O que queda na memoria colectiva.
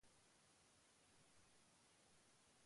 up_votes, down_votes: 0, 2